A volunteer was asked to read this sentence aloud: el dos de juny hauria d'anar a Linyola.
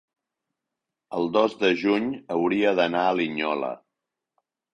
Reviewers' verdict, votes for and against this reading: accepted, 3, 0